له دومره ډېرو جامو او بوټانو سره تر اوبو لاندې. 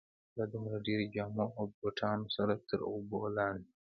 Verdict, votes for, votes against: accepted, 3, 0